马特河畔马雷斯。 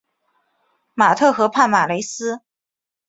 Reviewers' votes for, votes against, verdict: 2, 0, accepted